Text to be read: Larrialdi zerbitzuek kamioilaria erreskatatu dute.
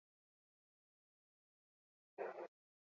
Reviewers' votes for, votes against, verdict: 0, 4, rejected